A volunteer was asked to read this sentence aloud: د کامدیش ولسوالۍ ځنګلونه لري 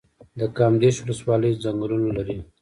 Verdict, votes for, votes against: rejected, 1, 2